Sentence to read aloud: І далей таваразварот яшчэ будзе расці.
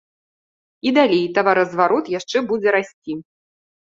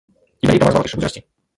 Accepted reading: first